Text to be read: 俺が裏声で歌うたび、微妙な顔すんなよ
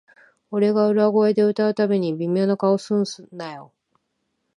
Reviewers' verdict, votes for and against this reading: rejected, 3, 3